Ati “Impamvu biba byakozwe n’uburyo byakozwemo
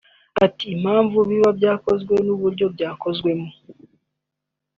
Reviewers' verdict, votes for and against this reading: accepted, 3, 0